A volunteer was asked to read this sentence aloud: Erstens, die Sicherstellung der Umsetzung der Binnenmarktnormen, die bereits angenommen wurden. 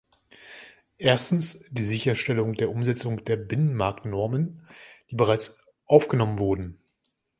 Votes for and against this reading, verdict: 0, 2, rejected